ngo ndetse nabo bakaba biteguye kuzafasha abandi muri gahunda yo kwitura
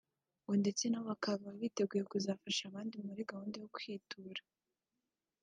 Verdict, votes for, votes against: accepted, 2, 0